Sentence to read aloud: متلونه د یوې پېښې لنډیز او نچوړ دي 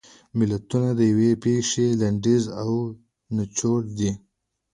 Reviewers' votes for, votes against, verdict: 2, 1, accepted